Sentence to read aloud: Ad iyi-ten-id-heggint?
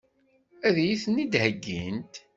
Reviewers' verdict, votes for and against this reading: accepted, 2, 0